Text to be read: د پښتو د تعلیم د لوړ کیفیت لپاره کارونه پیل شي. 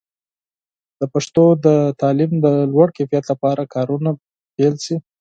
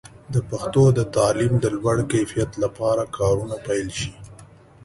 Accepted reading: second